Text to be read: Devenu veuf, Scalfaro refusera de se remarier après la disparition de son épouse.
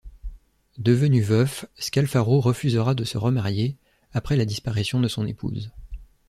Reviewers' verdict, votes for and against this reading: accepted, 2, 0